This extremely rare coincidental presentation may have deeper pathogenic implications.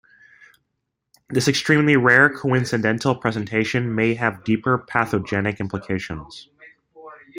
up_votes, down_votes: 2, 0